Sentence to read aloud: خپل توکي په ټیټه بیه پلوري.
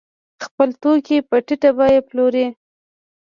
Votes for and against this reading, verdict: 1, 2, rejected